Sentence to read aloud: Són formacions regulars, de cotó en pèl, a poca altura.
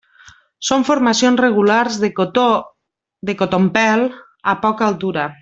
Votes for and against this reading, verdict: 0, 2, rejected